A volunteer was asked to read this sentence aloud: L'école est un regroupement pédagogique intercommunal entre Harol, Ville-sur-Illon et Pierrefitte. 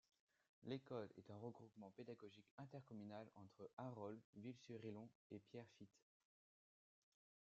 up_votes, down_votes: 2, 1